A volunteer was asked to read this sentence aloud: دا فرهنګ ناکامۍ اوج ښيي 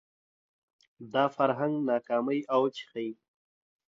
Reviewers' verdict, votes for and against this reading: accepted, 2, 0